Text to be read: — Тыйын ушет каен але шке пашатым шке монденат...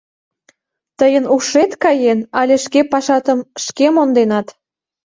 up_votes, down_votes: 2, 0